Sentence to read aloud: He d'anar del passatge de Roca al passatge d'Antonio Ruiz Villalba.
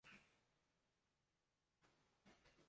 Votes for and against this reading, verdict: 0, 2, rejected